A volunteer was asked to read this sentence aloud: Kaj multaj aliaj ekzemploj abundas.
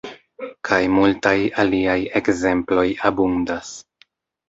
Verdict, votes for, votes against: accepted, 2, 0